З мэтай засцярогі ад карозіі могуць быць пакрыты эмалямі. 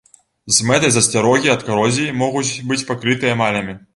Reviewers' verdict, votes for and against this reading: accepted, 2, 0